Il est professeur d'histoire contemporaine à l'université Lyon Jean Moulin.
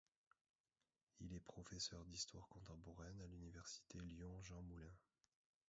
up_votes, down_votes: 1, 2